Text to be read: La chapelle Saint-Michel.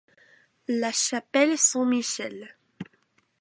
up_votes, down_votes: 0, 2